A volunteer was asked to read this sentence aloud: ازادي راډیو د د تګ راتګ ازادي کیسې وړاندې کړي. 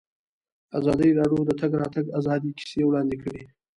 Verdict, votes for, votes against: rejected, 0, 2